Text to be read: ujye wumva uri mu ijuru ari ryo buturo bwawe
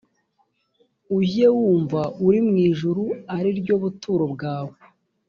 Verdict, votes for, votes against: accepted, 2, 0